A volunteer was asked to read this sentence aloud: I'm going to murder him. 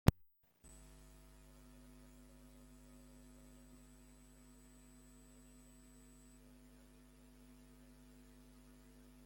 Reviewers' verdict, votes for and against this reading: rejected, 0, 2